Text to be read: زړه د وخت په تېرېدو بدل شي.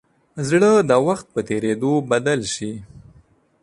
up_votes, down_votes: 2, 0